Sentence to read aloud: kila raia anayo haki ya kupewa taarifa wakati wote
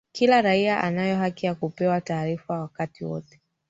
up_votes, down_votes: 1, 2